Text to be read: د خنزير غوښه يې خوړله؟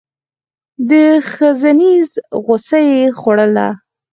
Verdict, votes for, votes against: rejected, 2, 4